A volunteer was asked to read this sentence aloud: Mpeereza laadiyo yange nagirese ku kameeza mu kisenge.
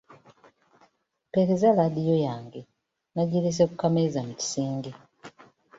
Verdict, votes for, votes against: accepted, 3, 0